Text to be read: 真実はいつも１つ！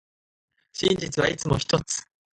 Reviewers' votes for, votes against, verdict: 0, 2, rejected